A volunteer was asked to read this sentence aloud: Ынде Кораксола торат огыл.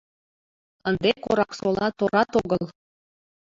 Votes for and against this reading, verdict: 0, 2, rejected